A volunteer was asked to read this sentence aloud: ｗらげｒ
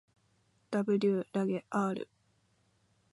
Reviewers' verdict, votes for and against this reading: accepted, 2, 0